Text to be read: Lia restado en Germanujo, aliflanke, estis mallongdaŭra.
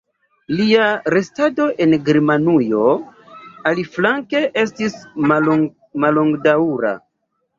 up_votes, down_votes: 1, 2